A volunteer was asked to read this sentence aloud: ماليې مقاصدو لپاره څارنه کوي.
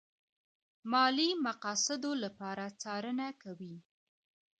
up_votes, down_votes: 2, 0